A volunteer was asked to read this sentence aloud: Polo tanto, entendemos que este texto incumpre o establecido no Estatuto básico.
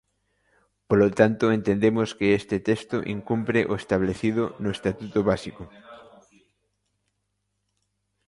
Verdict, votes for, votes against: accepted, 2, 1